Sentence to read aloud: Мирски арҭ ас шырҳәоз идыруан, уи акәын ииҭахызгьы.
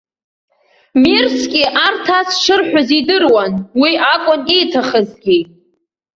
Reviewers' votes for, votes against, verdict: 2, 0, accepted